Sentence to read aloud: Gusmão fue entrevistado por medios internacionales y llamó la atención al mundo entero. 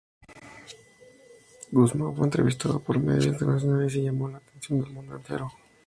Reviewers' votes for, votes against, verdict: 2, 2, rejected